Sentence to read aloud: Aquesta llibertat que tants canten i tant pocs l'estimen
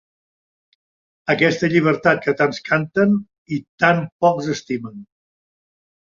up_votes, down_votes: 1, 3